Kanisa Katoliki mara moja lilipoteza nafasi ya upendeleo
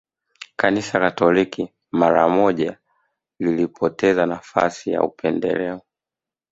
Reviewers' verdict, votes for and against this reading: rejected, 1, 2